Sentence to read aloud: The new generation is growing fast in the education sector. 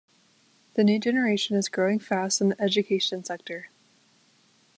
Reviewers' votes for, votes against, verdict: 2, 0, accepted